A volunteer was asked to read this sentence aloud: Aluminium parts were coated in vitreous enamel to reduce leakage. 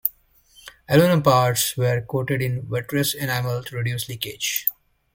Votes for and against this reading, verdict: 2, 0, accepted